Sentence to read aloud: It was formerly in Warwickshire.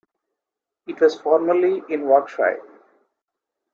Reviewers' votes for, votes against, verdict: 1, 2, rejected